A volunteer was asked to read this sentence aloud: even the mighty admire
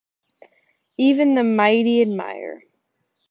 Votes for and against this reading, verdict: 2, 0, accepted